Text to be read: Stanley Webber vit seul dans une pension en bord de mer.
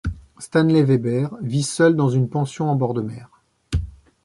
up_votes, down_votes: 2, 0